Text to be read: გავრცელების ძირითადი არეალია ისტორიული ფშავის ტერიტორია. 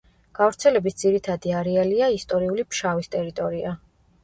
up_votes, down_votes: 0, 2